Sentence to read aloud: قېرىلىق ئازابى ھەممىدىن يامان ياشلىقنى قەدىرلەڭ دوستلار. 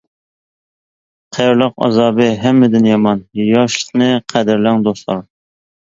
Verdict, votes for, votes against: accepted, 2, 0